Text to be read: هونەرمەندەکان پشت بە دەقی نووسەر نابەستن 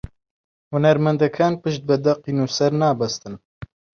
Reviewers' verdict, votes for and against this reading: accepted, 2, 0